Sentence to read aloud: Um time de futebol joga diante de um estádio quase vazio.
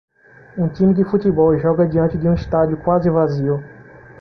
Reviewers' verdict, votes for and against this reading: accepted, 2, 0